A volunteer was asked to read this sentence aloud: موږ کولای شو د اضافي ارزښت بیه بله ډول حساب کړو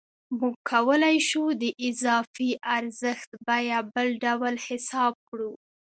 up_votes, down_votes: 2, 0